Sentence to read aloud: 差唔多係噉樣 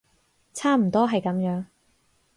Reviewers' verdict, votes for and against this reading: accepted, 4, 0